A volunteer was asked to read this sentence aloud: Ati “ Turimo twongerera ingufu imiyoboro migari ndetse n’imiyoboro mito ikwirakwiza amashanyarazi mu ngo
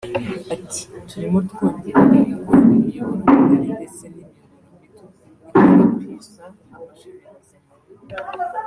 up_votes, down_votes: 1, 2